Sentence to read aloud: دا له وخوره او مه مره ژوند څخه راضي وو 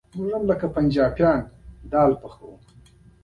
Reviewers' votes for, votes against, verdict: 0, 2, rejected